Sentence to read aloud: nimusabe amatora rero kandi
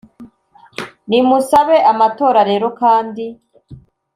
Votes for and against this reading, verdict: 2, 0, accepted